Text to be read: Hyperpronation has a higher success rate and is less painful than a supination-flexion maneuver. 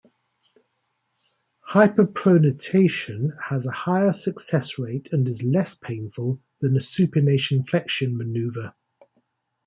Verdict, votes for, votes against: rejected, 1, 2